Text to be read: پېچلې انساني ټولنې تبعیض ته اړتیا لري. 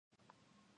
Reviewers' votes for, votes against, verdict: 1, 2, rejected